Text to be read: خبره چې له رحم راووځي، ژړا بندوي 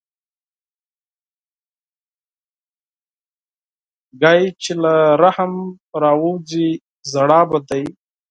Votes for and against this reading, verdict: 0, 4, rejected